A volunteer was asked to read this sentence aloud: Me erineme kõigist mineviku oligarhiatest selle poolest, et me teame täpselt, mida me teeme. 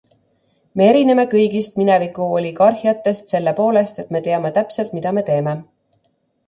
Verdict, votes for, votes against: accepted, 2, 0